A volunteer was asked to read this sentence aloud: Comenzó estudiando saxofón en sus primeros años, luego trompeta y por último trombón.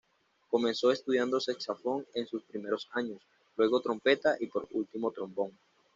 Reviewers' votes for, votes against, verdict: 1, 2, rejected